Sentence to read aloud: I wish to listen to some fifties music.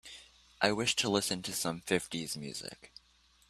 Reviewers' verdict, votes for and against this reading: accepted, 2, 0